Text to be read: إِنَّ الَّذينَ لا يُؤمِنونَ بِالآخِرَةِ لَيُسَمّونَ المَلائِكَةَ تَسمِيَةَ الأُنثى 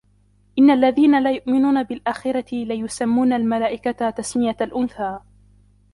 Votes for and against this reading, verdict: 2, 1, accepted